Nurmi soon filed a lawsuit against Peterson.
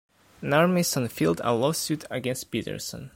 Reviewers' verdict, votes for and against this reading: rejected, 0, 2